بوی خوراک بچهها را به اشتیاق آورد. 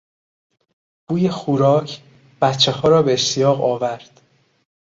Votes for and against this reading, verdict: 0, 2, rejected